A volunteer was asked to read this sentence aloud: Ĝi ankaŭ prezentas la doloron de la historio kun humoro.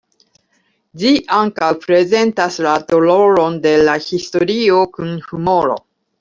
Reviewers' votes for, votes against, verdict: 2, 0, accepted